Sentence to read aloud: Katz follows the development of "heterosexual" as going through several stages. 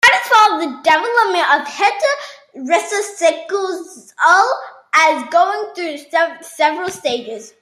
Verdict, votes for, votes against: rejected, 0, 2